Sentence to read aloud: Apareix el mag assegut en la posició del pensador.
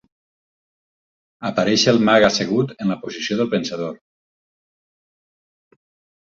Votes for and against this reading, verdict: 4, 2, accepted